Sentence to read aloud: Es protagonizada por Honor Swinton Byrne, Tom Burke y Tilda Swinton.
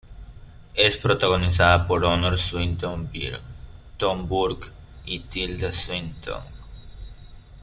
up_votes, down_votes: 2, 0